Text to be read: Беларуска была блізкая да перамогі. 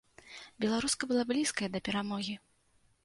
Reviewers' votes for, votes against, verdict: 2, 0, accepted